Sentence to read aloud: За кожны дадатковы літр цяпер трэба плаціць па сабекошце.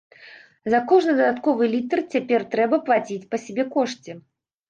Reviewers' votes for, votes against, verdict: 1, 2, rejected